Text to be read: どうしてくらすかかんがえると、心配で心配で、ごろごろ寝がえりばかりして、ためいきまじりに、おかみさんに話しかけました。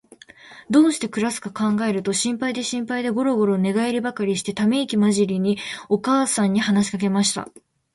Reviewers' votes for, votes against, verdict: 0, 2, rejected